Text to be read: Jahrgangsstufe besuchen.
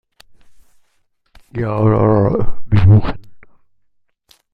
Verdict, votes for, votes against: rejected, 0, 2